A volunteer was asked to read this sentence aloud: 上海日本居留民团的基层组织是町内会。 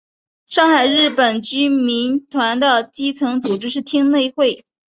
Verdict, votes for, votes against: accepted, 6, 1